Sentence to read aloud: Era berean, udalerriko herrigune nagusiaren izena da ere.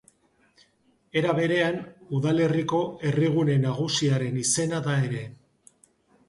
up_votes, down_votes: 2, 0